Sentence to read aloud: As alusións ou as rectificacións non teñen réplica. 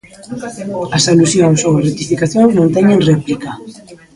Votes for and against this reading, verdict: 0, 2, rejected